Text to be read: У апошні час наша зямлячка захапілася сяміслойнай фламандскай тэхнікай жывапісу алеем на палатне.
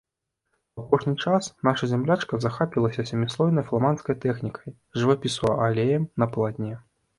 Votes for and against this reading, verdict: 1, 2, rejected